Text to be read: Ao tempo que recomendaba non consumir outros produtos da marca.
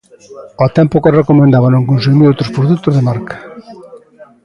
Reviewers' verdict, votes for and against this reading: rejected, 0, 2